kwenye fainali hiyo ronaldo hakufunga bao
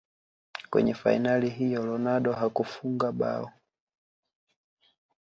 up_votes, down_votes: 1, 2